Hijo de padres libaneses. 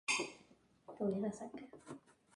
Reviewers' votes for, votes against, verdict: 2, 0, accepted